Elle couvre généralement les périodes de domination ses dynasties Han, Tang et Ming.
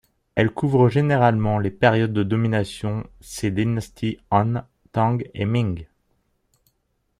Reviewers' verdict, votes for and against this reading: accepted, 2, 0